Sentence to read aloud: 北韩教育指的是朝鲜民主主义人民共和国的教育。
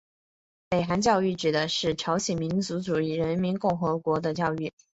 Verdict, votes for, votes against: accepted, 2, 1